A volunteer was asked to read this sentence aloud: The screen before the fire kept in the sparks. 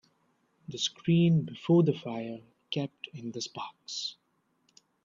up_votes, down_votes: 2, 0